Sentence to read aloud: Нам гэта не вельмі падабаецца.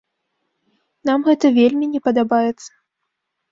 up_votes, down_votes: 0, 2